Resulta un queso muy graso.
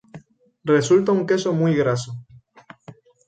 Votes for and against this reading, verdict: 2, 2, rejected